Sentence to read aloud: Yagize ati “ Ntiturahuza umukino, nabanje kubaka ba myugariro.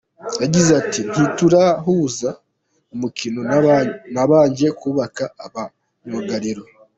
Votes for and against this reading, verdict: 1, 2, rejected